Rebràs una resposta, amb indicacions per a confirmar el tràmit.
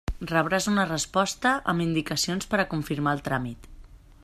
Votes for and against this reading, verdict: 3, 0, accepted